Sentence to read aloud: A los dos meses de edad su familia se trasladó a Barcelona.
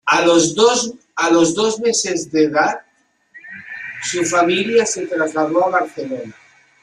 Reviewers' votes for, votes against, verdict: 1, 3, rejected